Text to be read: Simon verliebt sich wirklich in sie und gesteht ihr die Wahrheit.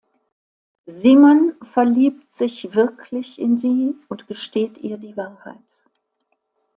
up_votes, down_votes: 2, 0